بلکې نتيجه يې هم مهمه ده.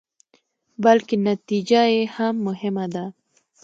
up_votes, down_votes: 2, 0